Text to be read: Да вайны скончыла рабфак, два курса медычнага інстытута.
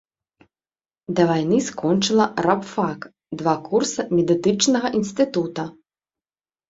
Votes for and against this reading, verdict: 0, 2, rejected